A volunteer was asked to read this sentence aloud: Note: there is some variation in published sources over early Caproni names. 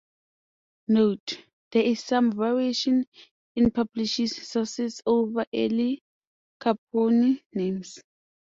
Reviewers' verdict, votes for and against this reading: rejected, 0, 2